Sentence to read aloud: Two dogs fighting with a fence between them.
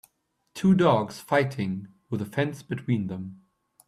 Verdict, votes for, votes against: accepted, 2, 0